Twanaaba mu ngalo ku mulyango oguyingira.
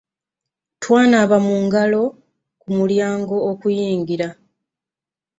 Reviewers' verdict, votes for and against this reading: rejected, 0, 2